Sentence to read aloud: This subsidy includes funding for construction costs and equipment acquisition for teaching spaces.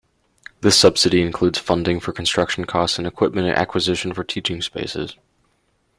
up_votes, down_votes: 2, 0